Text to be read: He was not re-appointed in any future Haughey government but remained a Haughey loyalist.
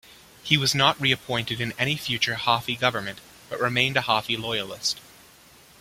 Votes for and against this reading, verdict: 2, 0, accepted